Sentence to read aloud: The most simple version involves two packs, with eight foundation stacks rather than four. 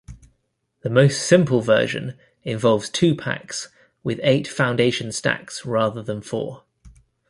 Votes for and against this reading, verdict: 2, 0, accepted